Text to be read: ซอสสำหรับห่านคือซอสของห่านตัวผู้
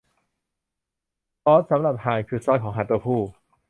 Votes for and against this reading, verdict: 2, 0, accepted